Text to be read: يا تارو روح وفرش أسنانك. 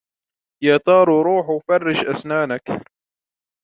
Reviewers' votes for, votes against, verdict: 2, 0, accepted